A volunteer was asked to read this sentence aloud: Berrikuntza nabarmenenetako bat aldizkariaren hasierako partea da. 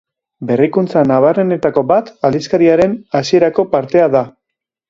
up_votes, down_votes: 3, 1